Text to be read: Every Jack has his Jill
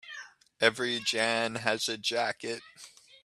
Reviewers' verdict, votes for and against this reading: rejected, 0, 2